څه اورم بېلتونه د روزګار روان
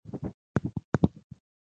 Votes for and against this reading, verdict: 2, 1, accepted